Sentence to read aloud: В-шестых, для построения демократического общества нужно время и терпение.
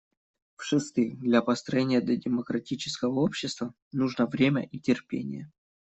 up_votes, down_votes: 2, 1